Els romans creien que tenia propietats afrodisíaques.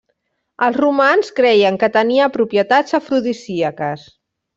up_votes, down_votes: 2, 0